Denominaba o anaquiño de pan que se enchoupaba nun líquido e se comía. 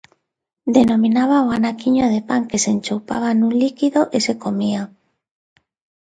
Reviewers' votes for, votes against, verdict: 2, 0, accepted